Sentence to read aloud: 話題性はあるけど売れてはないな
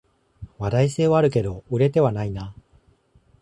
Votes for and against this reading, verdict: 2, 0, accepted